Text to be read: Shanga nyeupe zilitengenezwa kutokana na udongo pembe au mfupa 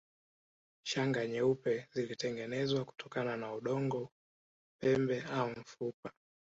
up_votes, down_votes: 1, 2